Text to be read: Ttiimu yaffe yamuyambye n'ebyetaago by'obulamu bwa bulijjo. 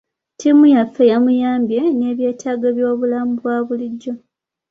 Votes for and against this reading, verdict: 2, 0, accepted